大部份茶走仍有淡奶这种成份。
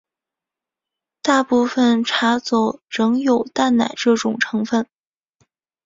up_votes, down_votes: 2, 1